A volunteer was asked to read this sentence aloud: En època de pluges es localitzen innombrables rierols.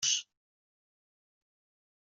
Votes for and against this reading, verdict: 0, 2, rejected